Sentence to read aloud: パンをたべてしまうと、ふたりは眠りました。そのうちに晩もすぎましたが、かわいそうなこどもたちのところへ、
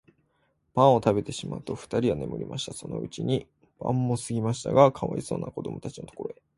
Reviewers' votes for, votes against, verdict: 2, 0, accepted